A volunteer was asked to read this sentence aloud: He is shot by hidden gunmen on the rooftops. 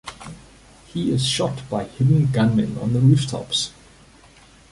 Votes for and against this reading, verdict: 2, 0, accepted